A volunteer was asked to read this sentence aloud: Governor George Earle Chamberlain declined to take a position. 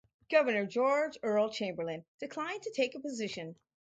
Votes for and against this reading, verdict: 2, 0, accepted